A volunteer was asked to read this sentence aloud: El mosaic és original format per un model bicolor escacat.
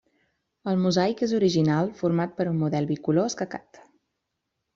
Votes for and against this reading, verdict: 3, 0, accepted